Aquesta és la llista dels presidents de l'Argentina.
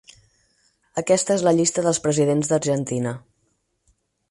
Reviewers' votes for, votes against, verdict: 4, 6, rejected